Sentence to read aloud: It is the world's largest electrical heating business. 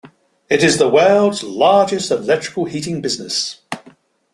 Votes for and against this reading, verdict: 2, 0, accepted